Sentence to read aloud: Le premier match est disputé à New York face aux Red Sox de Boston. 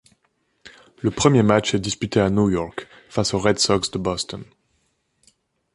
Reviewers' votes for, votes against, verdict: 2, 1, accepted